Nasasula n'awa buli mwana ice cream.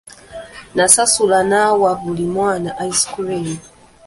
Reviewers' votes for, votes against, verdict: 2, 0, accepted